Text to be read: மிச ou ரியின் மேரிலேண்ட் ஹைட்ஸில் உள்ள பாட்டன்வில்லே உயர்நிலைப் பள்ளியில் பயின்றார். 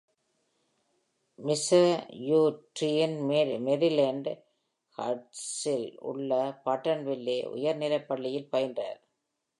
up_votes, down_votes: 1, 2